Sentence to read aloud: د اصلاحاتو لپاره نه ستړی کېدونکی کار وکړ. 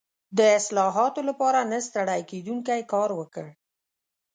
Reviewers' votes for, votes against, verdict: 2, 0, accepted